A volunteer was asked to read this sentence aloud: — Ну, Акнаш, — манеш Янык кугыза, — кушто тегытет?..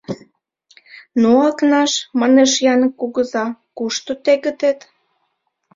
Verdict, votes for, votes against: accepted, 2, 0